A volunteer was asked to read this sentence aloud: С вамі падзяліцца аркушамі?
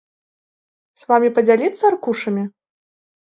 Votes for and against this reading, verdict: 0, 2, rejected